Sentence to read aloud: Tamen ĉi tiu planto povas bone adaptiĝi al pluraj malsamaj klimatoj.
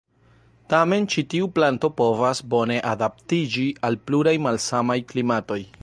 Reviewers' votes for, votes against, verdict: 2, 0, accepted